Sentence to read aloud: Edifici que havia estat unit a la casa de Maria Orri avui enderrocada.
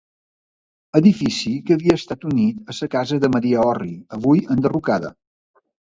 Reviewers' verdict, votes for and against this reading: rejected, 0, 2